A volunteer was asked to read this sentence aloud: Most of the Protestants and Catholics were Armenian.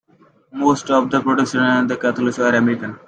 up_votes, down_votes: 0, 2